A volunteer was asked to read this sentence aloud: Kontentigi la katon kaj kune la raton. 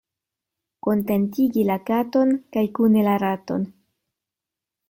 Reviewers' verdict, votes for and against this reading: accepted, 2, 0